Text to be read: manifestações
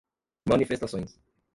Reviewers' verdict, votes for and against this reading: rejected, 1, 2